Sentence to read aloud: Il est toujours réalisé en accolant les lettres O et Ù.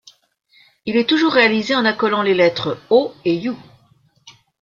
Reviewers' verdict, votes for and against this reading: rejected, 0, 2